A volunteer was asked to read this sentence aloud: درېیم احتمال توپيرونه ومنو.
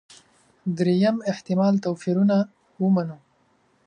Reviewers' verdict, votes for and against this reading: accepted, 2, 0